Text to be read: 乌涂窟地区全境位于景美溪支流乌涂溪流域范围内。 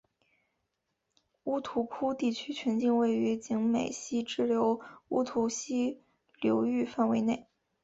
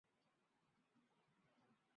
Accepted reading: first